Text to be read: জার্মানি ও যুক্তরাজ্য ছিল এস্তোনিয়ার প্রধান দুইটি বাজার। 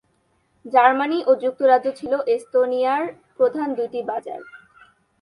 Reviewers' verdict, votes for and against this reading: rejected, 2, 4